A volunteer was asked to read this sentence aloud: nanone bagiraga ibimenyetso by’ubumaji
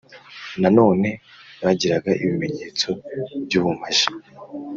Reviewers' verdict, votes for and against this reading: accepted, 3, 0